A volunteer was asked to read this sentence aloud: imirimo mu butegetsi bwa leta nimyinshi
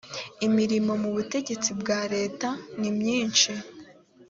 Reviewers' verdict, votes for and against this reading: accepted, 3, 0